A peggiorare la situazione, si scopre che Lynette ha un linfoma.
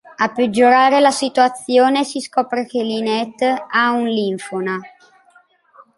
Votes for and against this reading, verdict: 0, 2, rejected